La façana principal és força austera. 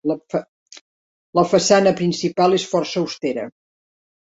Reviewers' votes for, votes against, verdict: 0, 2, rejected